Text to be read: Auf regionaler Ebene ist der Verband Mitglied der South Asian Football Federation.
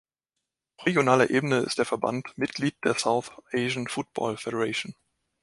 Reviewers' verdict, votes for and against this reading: rejected, 0, 2